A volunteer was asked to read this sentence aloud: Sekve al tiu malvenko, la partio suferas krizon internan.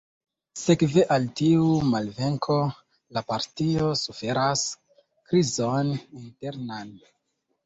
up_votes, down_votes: 0, 2